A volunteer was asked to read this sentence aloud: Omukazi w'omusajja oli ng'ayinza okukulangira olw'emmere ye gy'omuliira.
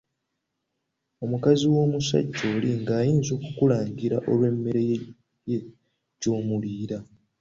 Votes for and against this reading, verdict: 1, 2, rejected